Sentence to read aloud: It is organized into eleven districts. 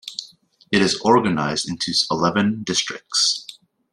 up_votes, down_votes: 0, 2